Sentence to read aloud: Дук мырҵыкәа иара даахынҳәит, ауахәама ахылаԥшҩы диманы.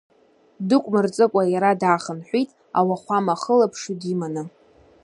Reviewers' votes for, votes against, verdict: 2, 0, accepted